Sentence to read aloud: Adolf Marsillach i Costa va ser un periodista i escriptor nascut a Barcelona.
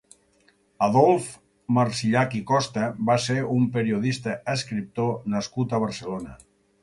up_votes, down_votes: 4, 6